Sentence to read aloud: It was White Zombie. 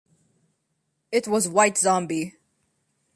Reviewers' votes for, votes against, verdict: 2, 0, accepted